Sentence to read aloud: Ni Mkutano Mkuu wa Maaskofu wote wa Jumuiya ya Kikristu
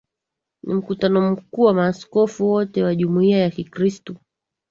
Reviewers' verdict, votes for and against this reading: accepted, 2, 0